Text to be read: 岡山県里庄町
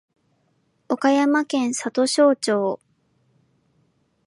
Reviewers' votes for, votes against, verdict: 3, 0, accepted